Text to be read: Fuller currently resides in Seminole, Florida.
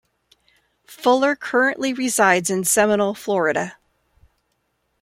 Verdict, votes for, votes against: accepted, 2, 0